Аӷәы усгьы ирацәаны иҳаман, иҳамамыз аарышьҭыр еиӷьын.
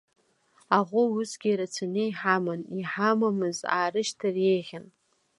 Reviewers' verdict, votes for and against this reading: accepted, 3, 0